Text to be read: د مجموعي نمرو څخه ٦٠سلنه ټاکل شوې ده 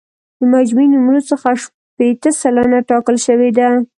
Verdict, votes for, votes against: rejected, 0, 2